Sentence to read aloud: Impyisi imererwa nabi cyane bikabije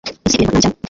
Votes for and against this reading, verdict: 0, 2, rejected